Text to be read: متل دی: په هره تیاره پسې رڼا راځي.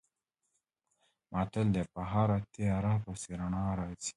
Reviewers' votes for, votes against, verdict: 1, 2, rejected